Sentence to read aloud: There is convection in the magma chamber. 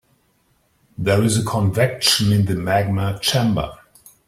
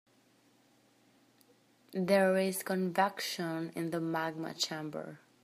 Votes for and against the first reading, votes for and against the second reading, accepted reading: 0, 2, 2, 0, second